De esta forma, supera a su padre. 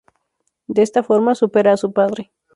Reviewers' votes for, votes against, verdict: 2, 0, accepted